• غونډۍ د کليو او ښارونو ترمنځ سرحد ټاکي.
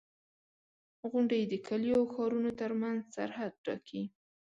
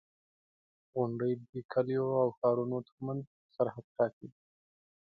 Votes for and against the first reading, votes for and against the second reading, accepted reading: 2, 0, 0, 2, first